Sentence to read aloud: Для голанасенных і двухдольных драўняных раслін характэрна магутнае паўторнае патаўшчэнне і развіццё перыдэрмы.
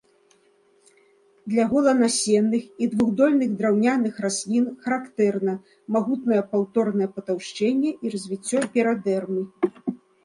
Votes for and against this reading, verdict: 2, 0, accepted